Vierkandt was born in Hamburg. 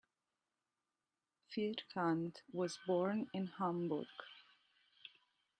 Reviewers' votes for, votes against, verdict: 2, 1, accepted